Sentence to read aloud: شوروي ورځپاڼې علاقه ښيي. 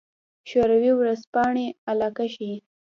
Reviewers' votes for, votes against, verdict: 0, 2, rejected